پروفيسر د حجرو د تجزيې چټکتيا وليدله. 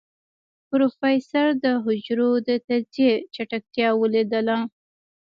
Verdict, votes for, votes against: rejected, 1, 2